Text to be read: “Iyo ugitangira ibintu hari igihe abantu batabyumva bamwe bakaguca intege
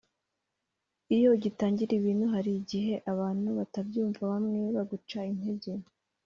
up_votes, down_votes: 1, 2